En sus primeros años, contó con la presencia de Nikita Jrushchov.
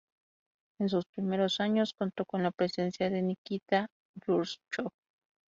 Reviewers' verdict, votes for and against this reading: rejected, 0, 2